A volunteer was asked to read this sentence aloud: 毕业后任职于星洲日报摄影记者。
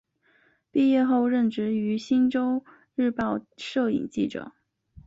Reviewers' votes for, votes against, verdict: 2, 0, accepted